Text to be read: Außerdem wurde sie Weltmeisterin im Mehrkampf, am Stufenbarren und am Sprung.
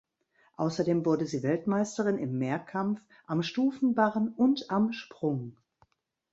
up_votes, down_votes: 3, 0